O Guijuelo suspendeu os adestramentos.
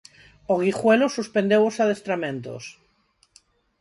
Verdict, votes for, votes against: accepted, 4, 0